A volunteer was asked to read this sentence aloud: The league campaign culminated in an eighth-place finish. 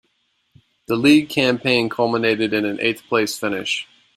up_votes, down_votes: 2, 0